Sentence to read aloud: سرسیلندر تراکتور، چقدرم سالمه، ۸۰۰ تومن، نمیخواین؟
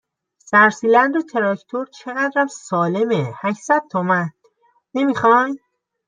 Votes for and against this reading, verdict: 0, 2, rejected